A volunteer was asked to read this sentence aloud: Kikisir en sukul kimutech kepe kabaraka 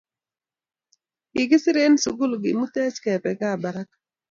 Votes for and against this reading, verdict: 2, 0, accepted